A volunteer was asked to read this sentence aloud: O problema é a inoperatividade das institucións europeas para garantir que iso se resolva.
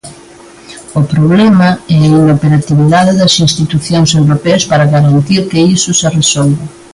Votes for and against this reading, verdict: 2, 1, accepted